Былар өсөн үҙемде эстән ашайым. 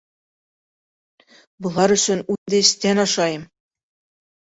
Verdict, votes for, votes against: rejected, 0, 2